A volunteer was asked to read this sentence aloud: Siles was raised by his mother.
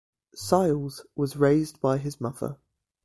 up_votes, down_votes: 2, 1